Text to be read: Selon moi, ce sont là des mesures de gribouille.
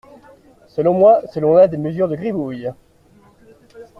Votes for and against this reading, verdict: 0, 2, rejected